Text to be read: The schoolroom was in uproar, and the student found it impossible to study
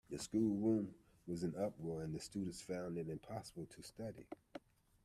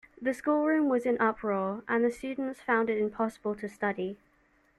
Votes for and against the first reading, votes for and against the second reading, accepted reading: 1, 2, 2, 1, second